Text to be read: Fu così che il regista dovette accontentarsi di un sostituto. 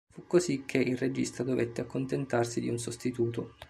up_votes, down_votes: 2, 0